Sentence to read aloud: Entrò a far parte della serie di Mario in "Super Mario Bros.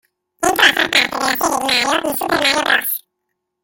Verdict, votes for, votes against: rejected, 0, 2